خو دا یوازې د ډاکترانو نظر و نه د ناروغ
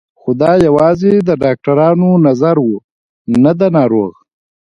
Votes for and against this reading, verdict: 2, 1, accepted